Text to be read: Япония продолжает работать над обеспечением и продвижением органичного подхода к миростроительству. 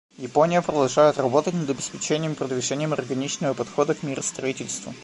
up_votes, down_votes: 2, 0